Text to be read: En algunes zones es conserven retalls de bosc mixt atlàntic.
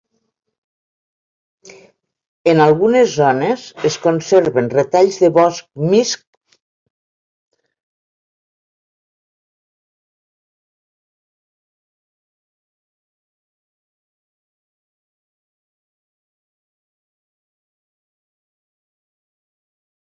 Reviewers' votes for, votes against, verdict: 0, 2, rejected